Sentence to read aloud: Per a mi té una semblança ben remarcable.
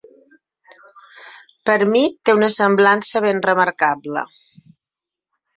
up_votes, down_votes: 6, 3